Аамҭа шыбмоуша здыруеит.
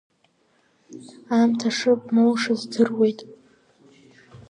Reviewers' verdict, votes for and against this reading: accepted, 2, 1